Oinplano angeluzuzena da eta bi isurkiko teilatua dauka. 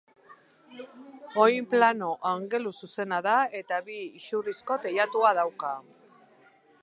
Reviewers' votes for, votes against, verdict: 6, 2, accepted